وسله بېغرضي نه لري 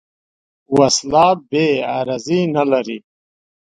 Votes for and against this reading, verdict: 0, 2, rejected